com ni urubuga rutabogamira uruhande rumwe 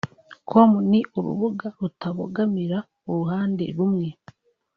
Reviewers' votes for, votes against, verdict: 2, 0, accepted